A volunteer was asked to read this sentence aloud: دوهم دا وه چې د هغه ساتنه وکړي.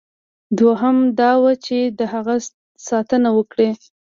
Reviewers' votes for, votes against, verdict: 2, 0, accepted